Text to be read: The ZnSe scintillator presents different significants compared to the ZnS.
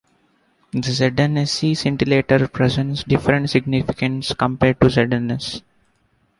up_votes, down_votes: 0, 2